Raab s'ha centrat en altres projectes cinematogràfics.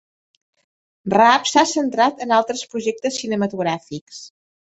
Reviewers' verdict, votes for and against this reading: accepted, 3, 0